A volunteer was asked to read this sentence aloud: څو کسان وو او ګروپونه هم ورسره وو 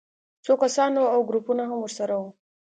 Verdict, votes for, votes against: accepted, 2, 0